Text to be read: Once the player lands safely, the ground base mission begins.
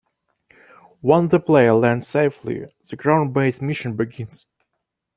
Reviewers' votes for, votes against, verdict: 1, 2, rejected